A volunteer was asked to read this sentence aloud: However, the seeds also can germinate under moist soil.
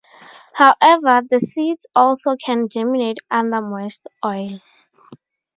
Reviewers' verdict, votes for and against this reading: rejected, 0, 4